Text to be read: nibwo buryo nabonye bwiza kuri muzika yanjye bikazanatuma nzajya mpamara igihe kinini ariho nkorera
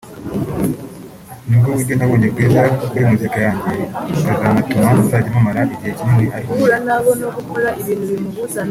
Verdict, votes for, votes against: rejected, 1, 3